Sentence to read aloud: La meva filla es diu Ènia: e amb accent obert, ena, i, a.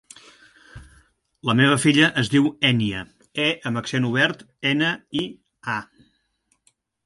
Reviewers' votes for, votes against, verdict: 2, 0, accepted